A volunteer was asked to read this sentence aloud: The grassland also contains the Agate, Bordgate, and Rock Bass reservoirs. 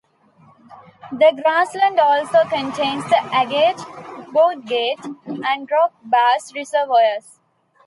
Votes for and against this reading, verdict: 2, 0, accepted